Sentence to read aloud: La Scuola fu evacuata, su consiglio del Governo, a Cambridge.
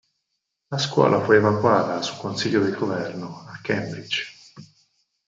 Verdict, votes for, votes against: rejected, 2, 4